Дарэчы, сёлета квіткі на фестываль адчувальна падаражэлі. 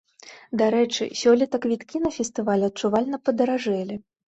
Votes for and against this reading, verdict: 2, 0, accepted